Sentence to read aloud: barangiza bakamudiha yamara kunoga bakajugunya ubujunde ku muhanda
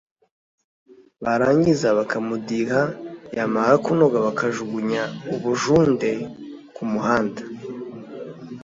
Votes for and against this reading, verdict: 2, 0, accepted